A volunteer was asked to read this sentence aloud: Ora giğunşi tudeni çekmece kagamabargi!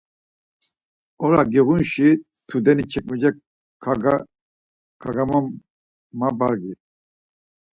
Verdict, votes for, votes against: rejected, 0, 4